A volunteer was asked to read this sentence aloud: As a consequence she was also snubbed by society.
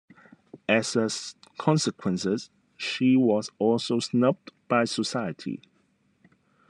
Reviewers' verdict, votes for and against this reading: rejected, 1, 2